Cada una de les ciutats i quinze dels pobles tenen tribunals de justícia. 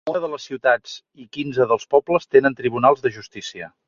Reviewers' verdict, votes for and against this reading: rejected, 0, 2